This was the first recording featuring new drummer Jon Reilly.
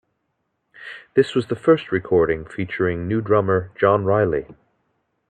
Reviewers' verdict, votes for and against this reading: accepted, 2, 0